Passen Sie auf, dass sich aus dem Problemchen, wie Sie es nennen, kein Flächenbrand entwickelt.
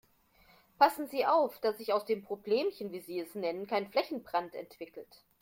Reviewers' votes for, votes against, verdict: 2, 0, accepted